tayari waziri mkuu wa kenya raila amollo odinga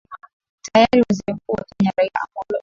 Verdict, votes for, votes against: rejected, 0, 2